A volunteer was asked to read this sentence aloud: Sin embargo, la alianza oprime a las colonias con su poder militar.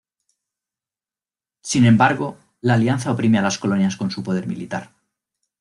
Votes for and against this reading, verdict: 2, 0, accepted